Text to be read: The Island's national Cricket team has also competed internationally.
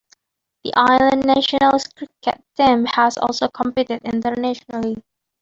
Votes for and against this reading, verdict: 1, 2, rejected